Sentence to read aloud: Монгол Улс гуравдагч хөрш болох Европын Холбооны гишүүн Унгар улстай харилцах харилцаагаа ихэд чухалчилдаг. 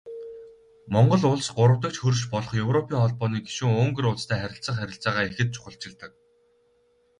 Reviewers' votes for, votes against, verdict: 2, 0, accepted